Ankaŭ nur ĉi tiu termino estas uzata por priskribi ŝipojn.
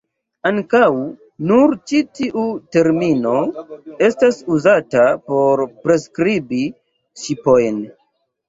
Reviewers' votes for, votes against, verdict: 2, 0, accepted